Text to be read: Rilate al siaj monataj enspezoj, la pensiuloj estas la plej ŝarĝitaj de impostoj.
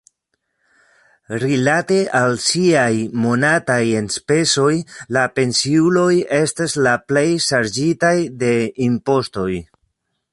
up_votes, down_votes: 2, 0